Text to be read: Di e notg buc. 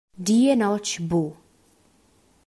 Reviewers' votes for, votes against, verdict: 2, 0, accepted